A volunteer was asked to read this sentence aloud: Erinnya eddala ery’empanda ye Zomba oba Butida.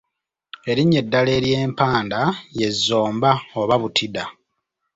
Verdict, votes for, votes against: accepted, 2, 0